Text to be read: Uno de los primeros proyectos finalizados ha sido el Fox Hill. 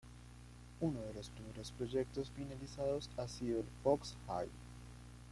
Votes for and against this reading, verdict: 0, 2, rejected